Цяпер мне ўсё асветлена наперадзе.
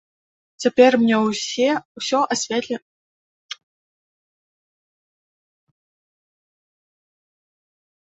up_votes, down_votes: 0, 2